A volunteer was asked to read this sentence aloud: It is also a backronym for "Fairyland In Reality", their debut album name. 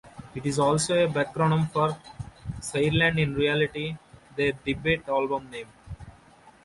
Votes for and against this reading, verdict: 0, 2, rejected